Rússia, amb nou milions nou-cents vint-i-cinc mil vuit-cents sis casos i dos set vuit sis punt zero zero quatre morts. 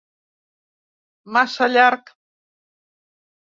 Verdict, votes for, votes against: rejected, 0, 2